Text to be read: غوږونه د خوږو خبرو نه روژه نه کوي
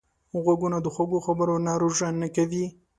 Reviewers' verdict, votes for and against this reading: accepted, 2, 0